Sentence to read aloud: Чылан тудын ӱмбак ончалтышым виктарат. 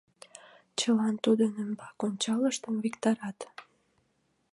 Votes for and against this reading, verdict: 1, 2, rejected